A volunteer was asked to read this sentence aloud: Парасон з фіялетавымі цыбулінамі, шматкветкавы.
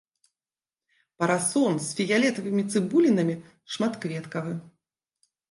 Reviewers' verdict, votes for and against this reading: accepted, 2, 0